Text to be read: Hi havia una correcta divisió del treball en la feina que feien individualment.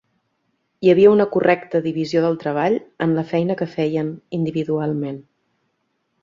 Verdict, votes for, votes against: accepted, 2, 0